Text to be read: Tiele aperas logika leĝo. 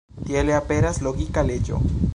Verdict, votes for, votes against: rejected, 1, 2